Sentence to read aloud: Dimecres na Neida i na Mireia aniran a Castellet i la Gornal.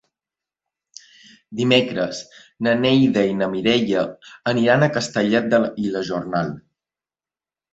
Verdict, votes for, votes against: rejected, 1, 2